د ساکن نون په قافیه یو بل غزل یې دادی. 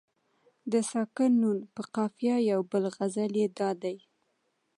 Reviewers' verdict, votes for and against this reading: accepted, 2, 0